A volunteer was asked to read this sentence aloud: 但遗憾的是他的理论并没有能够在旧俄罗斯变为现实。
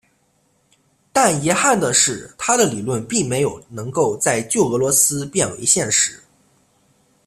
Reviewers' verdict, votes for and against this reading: accepted, 2, 1